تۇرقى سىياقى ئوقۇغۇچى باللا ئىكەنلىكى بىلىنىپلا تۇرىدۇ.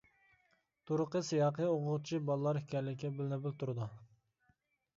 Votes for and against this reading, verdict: 2, 1, accepted